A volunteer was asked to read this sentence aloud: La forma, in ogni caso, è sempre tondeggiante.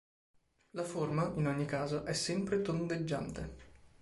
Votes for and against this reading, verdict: 2, 0, accepted